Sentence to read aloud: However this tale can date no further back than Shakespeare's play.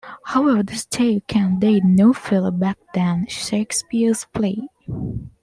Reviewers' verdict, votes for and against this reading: accepted, 2, 0